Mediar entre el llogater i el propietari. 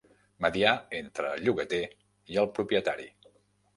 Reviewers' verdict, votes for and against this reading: accepted, 2, 0